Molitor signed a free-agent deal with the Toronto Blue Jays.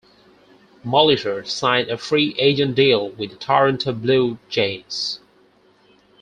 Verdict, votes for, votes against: accepted, 4, 0